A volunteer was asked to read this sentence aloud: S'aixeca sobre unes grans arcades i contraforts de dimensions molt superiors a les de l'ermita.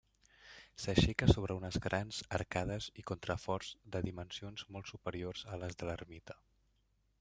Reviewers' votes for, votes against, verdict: 1, 2, rejected